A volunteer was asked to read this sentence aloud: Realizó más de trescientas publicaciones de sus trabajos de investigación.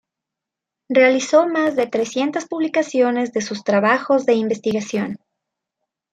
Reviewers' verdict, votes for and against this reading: accepted, 2, 0